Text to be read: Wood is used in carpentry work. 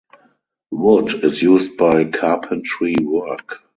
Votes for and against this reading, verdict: 0, 4, rejected